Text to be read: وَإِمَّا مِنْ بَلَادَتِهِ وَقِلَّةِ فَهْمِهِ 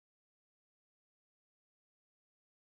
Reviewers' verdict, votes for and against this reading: rejected, 1, 2